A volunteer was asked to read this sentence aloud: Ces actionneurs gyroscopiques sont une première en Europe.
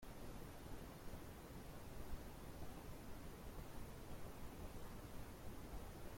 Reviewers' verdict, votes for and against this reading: rejected, 0, 2